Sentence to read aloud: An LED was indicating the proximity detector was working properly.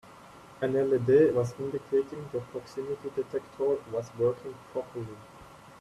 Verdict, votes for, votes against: accepted, 2, 1